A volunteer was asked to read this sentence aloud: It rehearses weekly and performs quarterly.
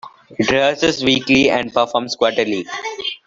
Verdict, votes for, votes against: rejected, 1, 2